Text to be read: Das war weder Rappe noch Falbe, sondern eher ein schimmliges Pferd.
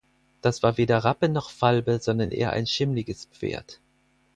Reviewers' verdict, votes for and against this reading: accepted, 4, 0